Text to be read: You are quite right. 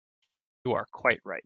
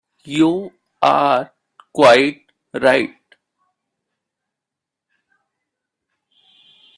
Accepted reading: first